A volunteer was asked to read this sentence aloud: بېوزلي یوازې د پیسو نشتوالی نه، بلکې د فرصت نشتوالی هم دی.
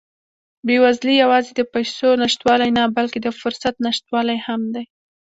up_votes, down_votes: 2, 0